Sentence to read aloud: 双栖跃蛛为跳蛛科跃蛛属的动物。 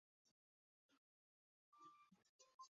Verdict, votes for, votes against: rejected, 0, 2